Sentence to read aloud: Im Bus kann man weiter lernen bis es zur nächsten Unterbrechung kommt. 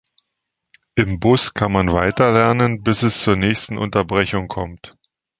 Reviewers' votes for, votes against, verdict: 3, 0, accepted